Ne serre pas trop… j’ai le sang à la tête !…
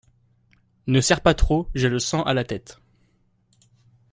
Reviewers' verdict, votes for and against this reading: accepted, 2, 0